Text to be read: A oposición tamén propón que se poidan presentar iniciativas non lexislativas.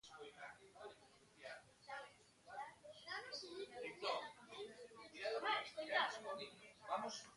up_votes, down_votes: 0, 2